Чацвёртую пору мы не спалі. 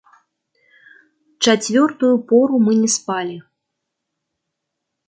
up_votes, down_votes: 2, 0